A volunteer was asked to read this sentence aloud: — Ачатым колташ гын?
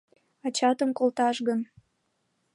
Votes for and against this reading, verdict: 2, 0, accepted